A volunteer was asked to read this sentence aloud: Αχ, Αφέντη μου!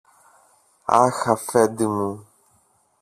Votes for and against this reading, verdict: 1, 2, rejected